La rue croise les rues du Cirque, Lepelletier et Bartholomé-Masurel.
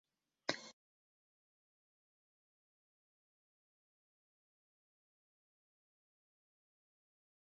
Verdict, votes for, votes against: rejected, 0, 2